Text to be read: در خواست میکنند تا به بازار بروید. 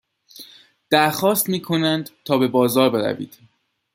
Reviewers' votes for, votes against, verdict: 2, 0, accepted